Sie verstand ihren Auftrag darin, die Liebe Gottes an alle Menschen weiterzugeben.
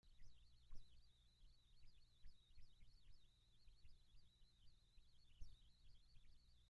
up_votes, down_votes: 0, 2